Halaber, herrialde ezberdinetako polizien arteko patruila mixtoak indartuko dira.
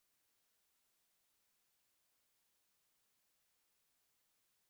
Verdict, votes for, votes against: rejected, 2, 4